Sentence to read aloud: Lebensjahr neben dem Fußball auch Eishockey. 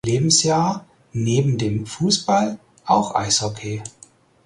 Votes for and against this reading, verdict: 6, 0, accepted